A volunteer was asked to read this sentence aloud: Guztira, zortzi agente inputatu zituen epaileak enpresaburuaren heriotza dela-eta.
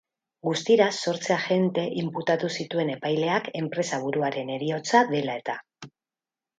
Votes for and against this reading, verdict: 2, 2, rejected